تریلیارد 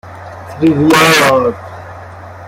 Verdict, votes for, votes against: rejected, 1, 2